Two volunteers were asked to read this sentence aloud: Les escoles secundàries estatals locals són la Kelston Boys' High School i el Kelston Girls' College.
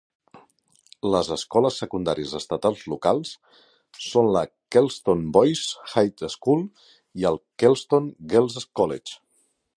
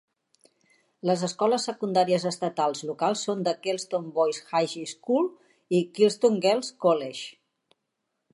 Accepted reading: first